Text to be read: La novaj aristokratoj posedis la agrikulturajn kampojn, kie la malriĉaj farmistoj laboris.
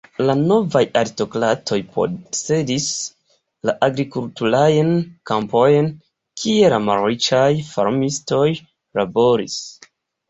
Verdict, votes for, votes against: rejected, 1, 2